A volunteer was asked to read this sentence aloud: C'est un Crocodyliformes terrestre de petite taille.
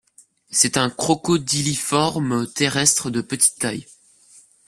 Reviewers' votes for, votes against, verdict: 2, 0, accepted